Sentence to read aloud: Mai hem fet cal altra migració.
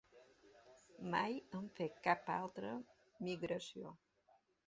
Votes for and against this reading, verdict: 2, 0, accepted